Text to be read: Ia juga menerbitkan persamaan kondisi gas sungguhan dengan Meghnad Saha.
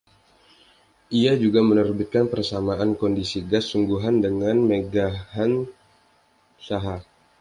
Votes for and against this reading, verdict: 1, 2, rejected